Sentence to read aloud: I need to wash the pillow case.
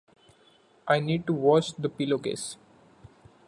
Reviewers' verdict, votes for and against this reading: accepted, 2, 0